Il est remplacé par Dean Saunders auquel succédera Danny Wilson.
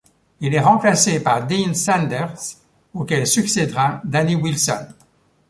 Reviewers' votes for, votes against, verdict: 1, 2, rejected